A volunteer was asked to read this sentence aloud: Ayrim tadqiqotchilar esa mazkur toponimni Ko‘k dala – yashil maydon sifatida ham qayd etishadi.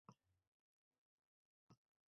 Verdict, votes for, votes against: rejected, 0, 2